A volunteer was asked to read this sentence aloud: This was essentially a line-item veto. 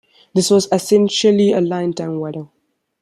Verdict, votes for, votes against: rejected, 0, 2